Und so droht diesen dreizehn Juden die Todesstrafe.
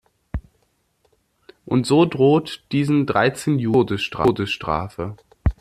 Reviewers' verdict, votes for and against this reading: rejected, 0, 2